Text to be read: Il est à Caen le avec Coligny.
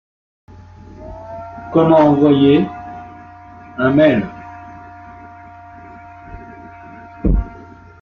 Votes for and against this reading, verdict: 0, 2, rejected